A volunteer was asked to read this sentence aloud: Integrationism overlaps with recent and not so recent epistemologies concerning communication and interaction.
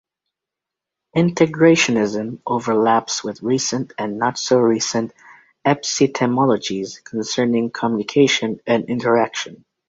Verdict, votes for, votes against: rejected, 0, 2